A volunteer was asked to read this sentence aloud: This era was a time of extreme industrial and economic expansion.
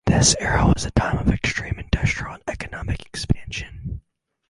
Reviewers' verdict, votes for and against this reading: rejected, 2, 2